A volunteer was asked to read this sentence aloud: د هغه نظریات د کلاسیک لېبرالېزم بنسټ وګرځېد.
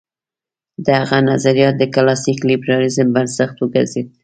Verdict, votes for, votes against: accepted, 2, 0